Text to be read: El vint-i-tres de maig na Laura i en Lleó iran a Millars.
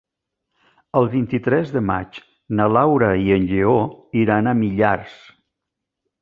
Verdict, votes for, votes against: accepted, 3, 0